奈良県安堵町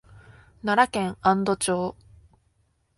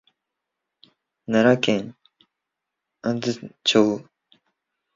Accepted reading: first